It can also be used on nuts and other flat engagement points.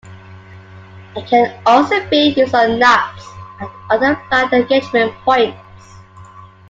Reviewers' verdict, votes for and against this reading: rejected, 1, 2